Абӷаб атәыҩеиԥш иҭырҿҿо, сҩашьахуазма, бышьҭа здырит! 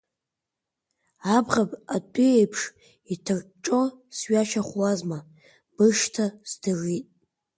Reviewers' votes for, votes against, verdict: 1, 2, rejected